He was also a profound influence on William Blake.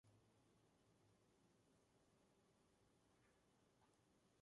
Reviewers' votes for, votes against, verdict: 0, 2, rejected